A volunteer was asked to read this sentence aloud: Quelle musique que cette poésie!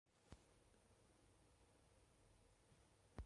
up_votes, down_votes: 0, 2